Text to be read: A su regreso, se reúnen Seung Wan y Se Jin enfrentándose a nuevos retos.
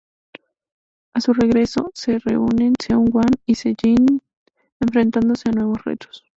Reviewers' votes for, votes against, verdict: 2, 2, rejected